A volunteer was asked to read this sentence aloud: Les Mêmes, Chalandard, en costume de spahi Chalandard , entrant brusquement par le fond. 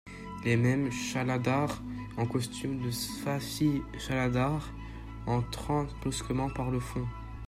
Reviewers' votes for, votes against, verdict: 0, 2, rejected